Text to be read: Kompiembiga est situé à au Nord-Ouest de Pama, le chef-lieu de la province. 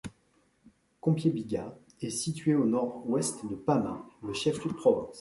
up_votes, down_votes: 0, 2